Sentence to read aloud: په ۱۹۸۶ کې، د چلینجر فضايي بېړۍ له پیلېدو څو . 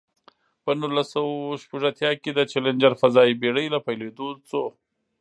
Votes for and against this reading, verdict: 0, 2, rejected